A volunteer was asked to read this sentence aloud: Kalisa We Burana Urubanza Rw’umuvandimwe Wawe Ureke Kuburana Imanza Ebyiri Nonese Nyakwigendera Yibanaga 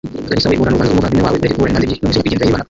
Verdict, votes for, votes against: rejected, 1, 2